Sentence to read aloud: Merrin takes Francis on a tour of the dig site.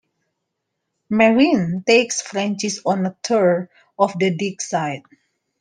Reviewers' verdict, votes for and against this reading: accepted, 2, 1